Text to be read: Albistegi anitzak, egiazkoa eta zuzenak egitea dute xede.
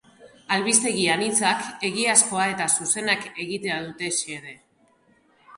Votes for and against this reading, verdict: 0, 2, rejected